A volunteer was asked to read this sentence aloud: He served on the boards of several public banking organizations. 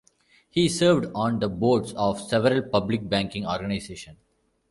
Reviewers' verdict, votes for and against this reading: accepted, 2, 0